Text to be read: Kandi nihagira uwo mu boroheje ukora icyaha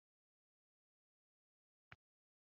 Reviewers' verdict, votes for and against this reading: rejected, 1, 2